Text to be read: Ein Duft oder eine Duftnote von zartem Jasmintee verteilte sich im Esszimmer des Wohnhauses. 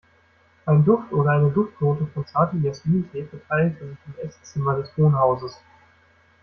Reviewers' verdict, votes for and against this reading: accepted, 2, 0